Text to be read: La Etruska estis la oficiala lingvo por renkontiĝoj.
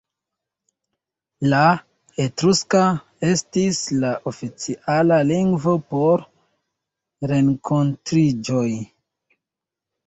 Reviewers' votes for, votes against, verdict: 0, 2, rejected